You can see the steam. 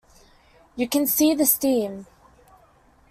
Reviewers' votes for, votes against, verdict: 2, 0, accepted